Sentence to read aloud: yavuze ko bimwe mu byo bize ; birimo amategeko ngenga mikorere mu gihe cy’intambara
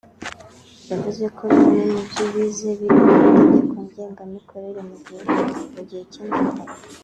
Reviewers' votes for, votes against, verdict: 1, 3, rejected